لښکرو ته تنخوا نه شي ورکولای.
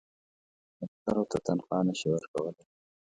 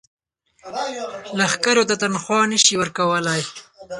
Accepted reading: first